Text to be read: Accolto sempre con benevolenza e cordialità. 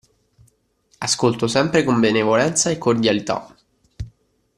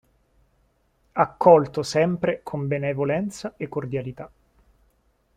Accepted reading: second